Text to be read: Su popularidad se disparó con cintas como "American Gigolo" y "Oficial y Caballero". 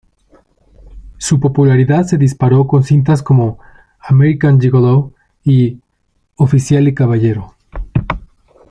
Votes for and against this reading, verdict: 2, 0, accepted